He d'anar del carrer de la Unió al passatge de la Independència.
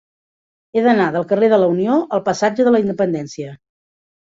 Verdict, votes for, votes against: accepted, 3, 0